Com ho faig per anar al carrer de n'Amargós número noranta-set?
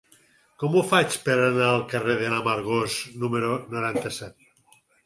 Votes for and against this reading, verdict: 4, 0, accepted